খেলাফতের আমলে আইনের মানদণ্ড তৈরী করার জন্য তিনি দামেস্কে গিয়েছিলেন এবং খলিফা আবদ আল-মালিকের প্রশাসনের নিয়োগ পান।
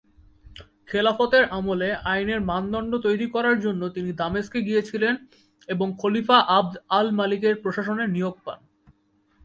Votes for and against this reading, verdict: 33, 1, accepted